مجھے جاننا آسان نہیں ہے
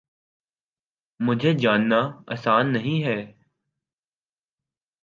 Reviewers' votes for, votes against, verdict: 2, 0, accepted